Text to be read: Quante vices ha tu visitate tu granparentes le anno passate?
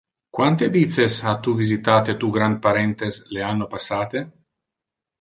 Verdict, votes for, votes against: accepted, 2, 0